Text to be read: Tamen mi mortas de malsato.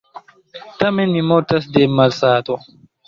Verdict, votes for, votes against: accepted, 2, 0